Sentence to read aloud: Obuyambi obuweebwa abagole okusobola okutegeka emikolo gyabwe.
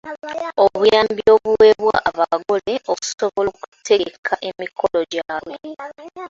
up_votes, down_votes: 0, 2